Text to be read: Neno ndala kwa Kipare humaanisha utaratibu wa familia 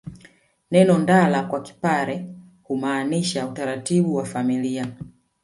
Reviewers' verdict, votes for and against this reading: rejected, 0, 2